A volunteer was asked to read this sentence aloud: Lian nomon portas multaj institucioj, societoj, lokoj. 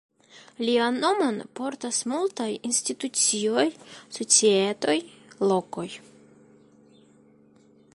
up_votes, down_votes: 2, 0